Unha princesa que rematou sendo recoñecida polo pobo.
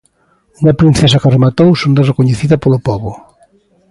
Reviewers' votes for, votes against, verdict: 2, 0, accepted